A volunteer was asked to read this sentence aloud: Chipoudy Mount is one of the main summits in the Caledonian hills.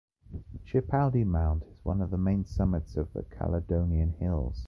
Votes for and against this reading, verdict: 1, 2, rejected